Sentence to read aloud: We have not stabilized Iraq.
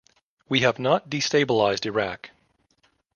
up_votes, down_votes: 0, 2